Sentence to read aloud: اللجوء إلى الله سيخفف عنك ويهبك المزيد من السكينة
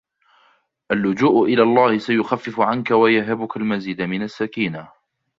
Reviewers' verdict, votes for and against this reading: rejected, 1, 2